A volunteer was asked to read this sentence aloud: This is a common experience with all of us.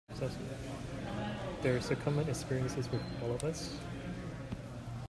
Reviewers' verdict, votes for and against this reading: rejected, 0, 2